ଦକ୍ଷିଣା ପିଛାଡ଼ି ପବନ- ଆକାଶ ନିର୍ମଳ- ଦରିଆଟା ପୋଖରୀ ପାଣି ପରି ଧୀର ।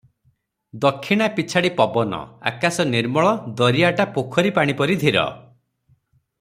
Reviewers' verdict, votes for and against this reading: accepted, 3, 0